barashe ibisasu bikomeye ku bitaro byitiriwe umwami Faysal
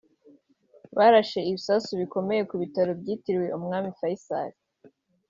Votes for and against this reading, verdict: 3, 0, accepted